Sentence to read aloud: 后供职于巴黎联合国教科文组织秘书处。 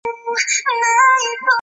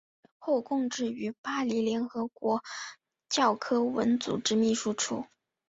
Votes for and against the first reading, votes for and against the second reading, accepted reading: 0, 2, 5, 0, second